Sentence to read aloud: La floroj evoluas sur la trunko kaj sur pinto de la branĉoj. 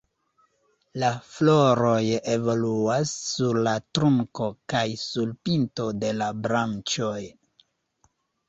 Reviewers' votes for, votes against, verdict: 2, 1, accepted